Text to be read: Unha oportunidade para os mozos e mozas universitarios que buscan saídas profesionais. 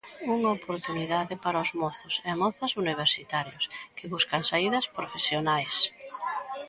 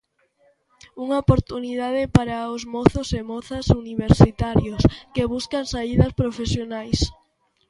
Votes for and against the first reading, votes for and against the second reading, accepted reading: 1, 2, 2, 0, second